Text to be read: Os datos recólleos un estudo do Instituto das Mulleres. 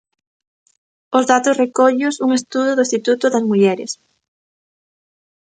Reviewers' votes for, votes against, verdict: 2, 0, accepted